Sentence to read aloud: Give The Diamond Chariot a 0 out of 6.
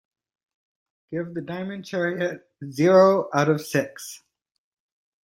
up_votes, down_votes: 0, 2